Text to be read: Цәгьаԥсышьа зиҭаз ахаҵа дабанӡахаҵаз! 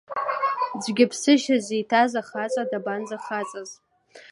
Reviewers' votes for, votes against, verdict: 2, 1, accepted